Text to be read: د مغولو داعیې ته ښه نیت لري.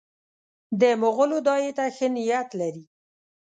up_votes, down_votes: 1, 2